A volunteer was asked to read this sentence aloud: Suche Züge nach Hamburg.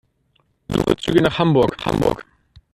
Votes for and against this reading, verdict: 1, 2, rejected